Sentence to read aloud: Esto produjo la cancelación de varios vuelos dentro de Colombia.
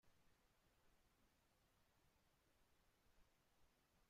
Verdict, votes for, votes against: rejected, 0, 2